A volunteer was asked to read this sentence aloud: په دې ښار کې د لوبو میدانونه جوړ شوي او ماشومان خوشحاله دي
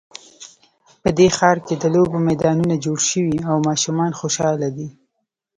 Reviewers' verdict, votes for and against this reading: accepted, 2, 0